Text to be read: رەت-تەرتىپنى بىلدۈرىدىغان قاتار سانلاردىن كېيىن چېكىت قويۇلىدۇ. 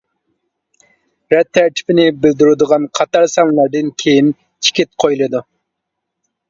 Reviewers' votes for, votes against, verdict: 1, 2, rejected